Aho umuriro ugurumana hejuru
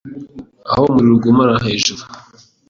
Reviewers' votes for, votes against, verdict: 2, 0, accepted